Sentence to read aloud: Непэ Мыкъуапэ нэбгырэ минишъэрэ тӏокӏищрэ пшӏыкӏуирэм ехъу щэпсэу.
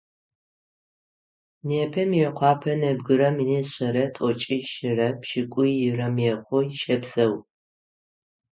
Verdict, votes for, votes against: rejected, 3, 6